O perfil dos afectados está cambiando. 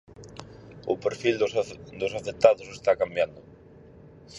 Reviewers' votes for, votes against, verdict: 0, 4, rejected